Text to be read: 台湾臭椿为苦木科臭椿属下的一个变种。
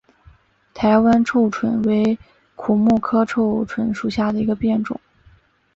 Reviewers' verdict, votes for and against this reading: accepted, 5, 0